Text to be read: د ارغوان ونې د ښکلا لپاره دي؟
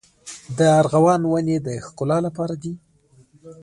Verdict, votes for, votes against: rejected, 0, 2